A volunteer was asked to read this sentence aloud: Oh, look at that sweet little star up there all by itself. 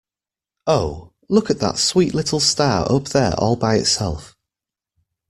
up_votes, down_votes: 2, 0